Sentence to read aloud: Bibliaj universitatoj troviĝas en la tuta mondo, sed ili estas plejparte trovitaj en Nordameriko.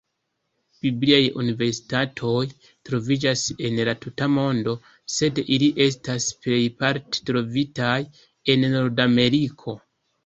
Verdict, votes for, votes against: accepted, 2, 0